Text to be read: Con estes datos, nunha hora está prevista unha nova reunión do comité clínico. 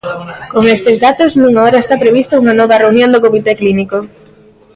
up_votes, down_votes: 2, 0